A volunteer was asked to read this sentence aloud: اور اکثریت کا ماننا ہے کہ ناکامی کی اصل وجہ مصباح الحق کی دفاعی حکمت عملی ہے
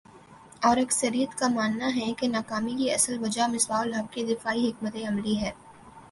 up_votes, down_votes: 3, 0